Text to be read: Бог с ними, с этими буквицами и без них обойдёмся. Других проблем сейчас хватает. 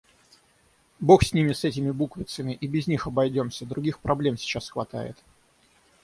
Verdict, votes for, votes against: accepted, 6, 0